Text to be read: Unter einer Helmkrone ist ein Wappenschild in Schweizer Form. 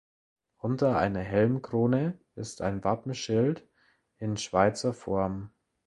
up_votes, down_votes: 2, 0